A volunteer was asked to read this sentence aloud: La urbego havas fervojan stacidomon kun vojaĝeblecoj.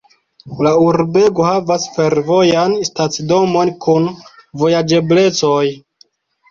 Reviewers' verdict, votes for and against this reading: accepted, 2, 0